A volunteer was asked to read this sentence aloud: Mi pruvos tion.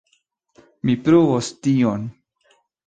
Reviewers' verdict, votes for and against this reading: rejected, 1, 2